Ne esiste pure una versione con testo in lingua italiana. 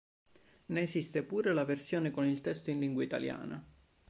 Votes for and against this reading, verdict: 1, 2, rejected